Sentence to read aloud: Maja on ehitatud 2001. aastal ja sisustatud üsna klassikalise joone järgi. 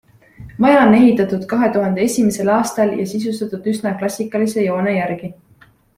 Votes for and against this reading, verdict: 0, 2, rejected